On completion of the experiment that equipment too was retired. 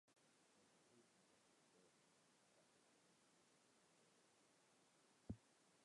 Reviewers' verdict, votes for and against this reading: rejected, 0, 2